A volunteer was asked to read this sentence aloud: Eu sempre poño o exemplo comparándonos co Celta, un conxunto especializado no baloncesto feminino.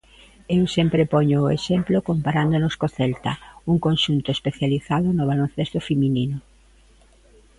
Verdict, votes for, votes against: accepted, 2, 0